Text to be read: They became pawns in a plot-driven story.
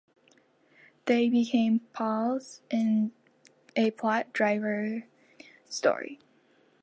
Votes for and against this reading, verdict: 0, 2, rejected